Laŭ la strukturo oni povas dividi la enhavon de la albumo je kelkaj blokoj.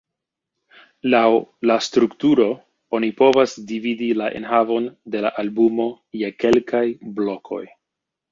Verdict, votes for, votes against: accepted, 3, 1